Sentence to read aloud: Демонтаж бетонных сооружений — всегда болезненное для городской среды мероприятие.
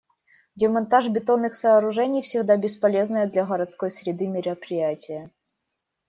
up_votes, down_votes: 1, 2